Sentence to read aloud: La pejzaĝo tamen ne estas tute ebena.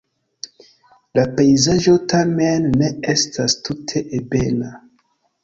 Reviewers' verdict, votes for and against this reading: accepted, 2, 0